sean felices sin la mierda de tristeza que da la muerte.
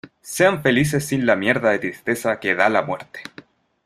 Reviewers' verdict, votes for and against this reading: accepted, 2, 0